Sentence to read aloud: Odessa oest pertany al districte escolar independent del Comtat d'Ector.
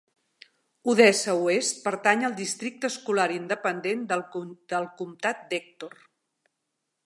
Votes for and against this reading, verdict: 1, 2, rejected